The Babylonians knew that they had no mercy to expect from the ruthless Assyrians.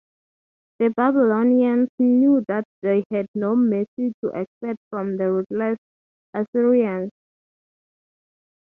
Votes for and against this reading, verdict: 6, 0, accepted